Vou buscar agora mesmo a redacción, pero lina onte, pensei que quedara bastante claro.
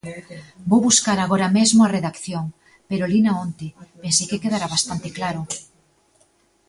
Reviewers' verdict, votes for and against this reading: accepted, 2, 0